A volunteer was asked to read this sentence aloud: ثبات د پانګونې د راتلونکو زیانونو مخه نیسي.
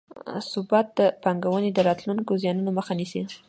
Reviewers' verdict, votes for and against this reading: accepted, 2, 0